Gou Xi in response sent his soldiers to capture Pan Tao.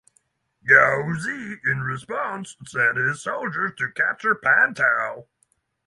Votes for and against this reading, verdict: 3, 0, accepted